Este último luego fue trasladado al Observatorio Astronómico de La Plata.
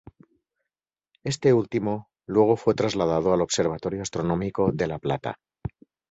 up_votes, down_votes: 2, 2